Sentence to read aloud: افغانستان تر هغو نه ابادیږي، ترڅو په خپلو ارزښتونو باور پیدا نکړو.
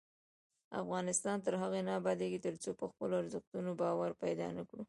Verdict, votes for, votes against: accepted, 2, 0